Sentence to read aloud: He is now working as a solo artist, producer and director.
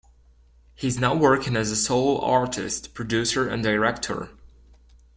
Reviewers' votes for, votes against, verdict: 1, 2, rejected